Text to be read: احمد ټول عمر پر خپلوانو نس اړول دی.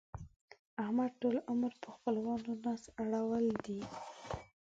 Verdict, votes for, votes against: rejected, 1, 4